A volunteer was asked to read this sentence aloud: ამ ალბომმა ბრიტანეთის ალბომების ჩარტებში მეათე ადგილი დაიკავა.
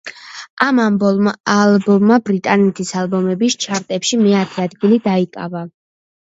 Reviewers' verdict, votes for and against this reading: rejected, 0, 2